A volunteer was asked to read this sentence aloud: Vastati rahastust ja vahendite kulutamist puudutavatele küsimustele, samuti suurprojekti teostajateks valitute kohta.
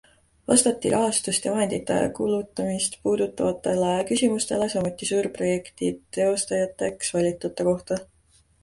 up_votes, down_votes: 2, 1